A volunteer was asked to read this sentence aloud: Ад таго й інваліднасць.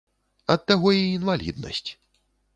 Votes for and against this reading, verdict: 2, 0, accepted